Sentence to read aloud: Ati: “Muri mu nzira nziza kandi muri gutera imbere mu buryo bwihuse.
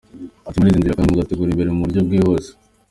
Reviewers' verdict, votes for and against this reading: rejected, 0, 2